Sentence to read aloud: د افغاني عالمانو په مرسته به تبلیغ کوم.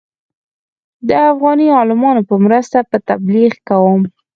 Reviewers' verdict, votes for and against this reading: rejected, 2, 4